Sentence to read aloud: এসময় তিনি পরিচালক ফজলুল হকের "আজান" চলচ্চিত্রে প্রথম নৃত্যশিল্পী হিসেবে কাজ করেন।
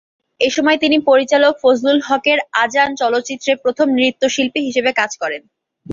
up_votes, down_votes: 2, 0